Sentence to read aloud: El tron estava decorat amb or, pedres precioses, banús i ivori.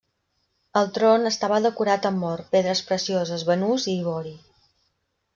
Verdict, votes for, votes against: accepted, 2, 0